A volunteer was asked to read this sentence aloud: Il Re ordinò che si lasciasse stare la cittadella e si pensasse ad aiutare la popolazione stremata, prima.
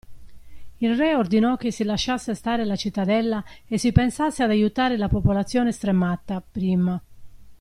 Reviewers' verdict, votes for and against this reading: rejected, 1, 2